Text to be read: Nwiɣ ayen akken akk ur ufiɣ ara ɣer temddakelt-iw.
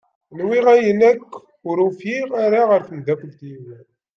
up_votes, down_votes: 1, 2